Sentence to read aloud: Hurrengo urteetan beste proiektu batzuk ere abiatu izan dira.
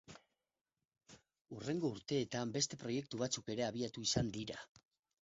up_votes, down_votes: 0, 4